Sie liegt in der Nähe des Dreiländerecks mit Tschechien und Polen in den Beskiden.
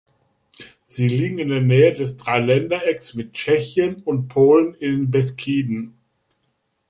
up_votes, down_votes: 2, 3